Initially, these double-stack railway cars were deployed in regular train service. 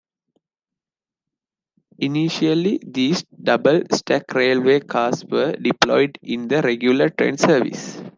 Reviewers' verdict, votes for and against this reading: accepted, 3, 2